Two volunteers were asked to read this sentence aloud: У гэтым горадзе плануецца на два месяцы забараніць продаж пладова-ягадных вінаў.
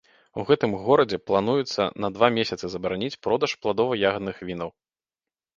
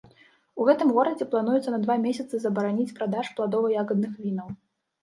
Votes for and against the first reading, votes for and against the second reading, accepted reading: 2, 0, 1, 2, first